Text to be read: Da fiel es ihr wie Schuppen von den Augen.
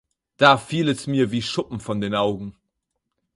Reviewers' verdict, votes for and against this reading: rejected, 4, 6